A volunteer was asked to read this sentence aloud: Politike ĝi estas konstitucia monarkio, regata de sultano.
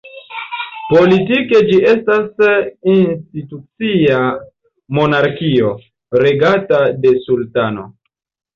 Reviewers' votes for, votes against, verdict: 1, 2, rejected